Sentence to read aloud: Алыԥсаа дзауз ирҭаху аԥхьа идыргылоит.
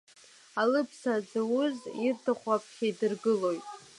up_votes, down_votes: 2, 1